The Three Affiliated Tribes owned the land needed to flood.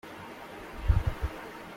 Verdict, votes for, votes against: rejected, 0, 2